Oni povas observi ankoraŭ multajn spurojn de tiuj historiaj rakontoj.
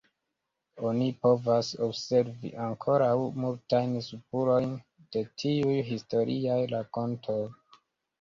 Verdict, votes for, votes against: rejected, 0, 2